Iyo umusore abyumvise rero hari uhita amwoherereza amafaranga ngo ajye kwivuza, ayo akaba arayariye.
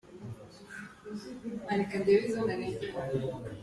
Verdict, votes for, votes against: rejected, 0, 2